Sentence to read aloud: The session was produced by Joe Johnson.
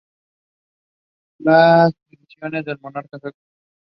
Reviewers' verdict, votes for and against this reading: rejected, 0, 2